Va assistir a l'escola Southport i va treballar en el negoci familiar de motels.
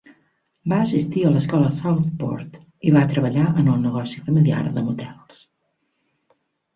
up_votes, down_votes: 3, 0